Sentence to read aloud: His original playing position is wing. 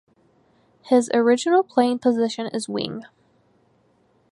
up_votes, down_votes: 2, 0